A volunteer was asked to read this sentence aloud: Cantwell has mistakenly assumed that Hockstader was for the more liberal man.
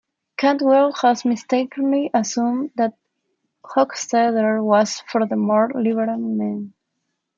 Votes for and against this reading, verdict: 2, 0, accepted